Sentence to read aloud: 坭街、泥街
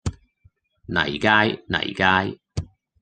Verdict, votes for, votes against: rejected, 1, 2